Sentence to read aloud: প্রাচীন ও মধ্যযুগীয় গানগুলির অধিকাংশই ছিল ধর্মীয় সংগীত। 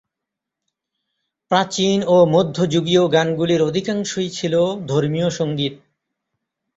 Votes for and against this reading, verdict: 1, 2, rejected